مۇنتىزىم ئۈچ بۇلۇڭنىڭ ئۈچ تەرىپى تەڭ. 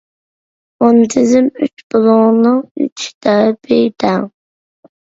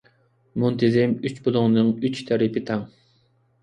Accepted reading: second